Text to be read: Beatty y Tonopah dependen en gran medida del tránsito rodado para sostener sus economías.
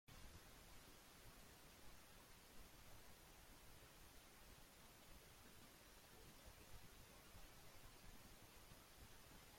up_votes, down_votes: 0, 2